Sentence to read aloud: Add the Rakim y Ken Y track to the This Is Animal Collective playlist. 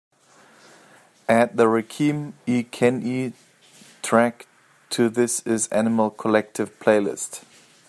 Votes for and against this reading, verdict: 1, 2, rejected